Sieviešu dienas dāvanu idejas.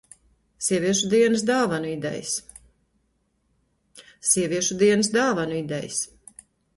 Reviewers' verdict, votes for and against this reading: rejected, 0, 2